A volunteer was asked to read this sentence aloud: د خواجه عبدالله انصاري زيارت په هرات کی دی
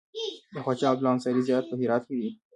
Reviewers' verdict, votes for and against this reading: rejected, 0, 2